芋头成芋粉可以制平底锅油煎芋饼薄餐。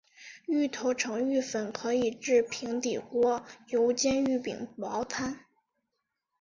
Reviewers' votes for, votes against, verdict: 2, 1, accepted